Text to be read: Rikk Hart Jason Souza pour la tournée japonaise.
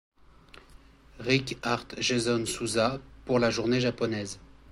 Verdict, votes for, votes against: rejected, 1, 2